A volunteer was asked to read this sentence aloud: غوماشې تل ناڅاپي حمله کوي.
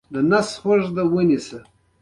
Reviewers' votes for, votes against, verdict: 1, 2, rejected